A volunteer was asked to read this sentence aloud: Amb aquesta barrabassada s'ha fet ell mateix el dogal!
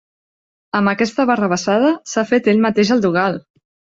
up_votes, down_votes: 2, 0